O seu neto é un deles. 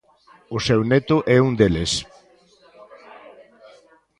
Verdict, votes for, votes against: rejected, 1, 2